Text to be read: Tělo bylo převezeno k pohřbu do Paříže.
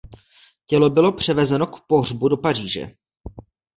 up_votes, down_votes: 2, 0